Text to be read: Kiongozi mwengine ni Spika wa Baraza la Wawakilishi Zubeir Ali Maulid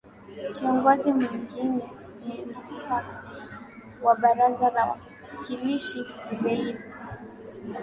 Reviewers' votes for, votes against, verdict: 2, 0, accepted